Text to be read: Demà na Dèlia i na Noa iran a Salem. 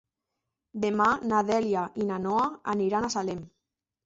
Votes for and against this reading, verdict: 1, 2, rejected